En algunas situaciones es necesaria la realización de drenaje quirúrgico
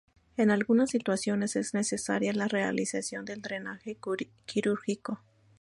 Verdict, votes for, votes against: accepted, 2, 0